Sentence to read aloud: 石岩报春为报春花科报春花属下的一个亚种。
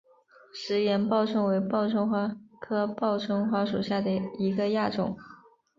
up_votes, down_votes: 5, 0